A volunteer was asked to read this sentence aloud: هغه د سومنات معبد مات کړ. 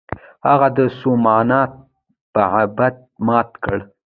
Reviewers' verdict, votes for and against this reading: rejected, 0, 2